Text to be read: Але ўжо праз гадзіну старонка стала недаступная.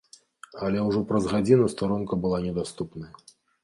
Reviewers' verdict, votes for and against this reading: rejected, 1, 3